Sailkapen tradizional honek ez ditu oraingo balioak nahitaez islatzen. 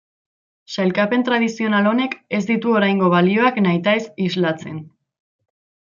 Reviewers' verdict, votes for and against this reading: accepted, 2, 0